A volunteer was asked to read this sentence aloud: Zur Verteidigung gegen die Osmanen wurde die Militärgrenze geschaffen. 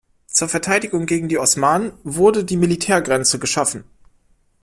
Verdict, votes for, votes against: accepted, 2, 0